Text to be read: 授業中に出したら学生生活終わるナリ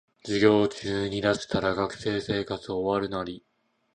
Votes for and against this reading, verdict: 2, 0, accepted